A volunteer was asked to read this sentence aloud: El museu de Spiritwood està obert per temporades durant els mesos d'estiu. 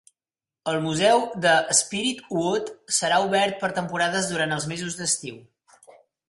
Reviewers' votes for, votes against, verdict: 3, 4, rejected